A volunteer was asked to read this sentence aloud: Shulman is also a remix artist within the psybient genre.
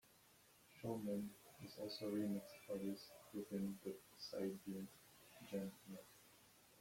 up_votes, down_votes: 0, 2